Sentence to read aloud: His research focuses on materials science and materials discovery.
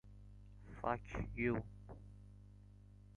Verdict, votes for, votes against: rejected, 0, 2